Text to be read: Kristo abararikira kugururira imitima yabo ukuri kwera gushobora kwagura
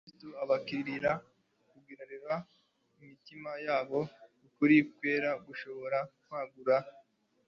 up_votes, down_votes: 1, 2